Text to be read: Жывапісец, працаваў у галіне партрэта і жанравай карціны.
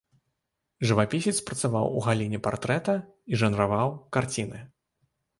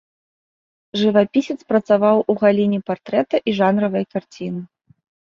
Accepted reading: second